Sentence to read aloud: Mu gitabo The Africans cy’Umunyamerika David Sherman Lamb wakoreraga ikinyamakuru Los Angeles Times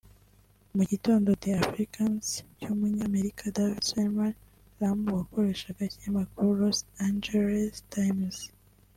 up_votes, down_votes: 0, 2